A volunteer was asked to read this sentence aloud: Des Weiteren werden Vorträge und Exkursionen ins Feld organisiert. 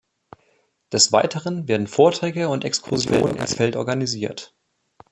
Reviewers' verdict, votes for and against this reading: rejected, 1, 2